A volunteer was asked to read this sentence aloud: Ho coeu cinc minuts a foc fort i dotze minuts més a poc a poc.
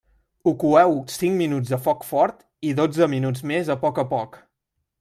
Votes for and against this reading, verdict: 2, 0, accepted